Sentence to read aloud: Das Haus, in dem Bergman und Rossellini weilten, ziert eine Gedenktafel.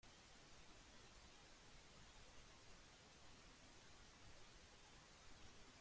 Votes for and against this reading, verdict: 0, 2, rejected